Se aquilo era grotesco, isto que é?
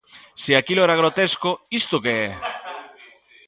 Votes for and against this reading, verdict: 2, 0, accepted